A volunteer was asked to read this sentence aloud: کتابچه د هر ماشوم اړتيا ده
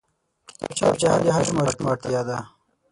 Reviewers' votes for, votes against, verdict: 0, 6, rejected